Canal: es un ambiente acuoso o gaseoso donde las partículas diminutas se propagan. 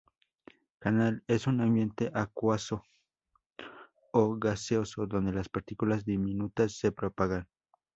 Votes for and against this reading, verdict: 0, 2, rejected